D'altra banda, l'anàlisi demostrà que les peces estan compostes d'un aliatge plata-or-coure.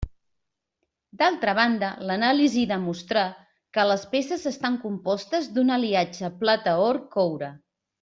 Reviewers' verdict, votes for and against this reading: accepted, 2, 0